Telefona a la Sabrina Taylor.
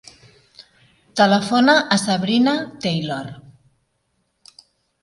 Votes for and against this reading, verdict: 1, 2, rejected